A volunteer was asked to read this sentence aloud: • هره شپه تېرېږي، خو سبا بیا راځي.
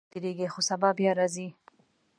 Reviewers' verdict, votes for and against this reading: rejected, 0, 2